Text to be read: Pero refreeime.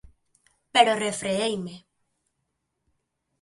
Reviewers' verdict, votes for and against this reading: accepted, 2, 0